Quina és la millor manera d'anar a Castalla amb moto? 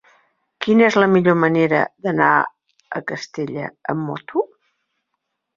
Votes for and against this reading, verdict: 0, 3, rejected